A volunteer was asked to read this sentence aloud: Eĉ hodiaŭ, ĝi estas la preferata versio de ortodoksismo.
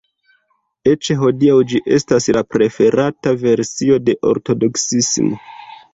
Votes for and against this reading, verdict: 2, 0, accepted